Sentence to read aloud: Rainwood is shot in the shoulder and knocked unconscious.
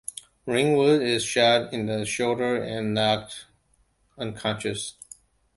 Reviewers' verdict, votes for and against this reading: accepted, 2, 1